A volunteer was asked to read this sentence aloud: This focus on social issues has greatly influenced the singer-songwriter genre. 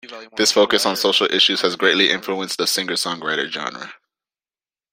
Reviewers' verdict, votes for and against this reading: accepted, 2, 0